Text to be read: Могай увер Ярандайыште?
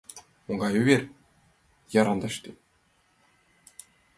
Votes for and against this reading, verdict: 0, 2, rejected